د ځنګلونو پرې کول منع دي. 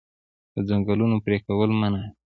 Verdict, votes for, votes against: accepted, 2, 0